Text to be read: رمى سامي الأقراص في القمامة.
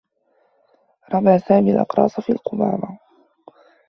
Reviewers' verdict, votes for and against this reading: accepted, 2, 0